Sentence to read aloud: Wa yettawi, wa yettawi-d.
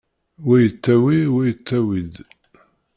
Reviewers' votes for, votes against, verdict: 2, 0, accepted